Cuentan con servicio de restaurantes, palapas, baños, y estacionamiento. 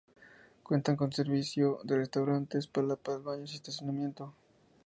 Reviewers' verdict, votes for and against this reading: accepted, 2, 0